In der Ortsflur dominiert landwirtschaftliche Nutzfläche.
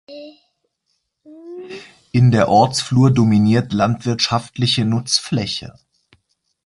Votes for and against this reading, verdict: 2, 0, accepted